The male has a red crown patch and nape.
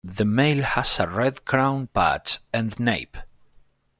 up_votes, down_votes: 2, 1